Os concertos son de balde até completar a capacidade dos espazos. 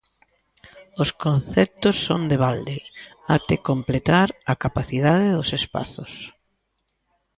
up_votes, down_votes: 1, 2